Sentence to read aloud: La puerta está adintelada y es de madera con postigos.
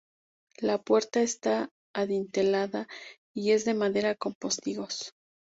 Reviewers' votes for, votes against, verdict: 2, 0, accepted